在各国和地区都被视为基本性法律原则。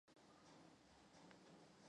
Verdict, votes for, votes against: rejected, 0, 2